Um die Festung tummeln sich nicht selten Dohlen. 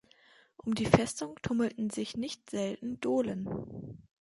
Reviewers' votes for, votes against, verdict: 2, 2, rejected